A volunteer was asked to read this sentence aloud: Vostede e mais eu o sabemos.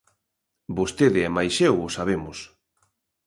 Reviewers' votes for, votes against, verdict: 2, 0, accepted